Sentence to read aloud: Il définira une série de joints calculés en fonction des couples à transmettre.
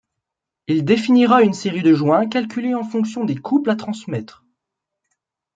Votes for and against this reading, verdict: 2, 0, accepted